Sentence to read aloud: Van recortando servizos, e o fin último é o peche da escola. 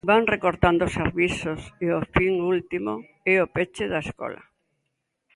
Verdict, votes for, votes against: rejected, 1, 2